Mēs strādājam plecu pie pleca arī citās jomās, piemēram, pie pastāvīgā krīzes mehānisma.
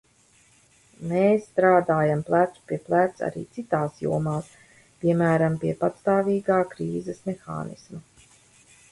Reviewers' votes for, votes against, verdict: 0, 2, rejected